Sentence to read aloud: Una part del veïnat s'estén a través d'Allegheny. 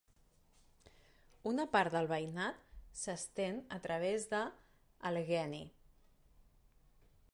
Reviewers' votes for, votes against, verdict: 0, 2, rejected